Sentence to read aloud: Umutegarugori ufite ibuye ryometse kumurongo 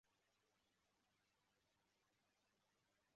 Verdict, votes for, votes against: rejected, 0, 2